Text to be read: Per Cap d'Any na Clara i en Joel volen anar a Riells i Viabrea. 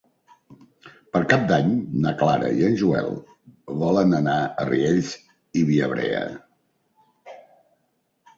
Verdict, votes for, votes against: accepted, 3, 0